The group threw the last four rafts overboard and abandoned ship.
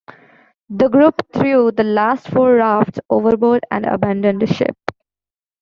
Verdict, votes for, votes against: rejected, 1, 2